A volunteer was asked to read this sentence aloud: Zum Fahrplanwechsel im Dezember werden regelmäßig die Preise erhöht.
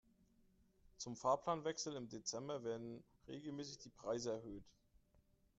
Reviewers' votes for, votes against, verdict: 3, 0, accepted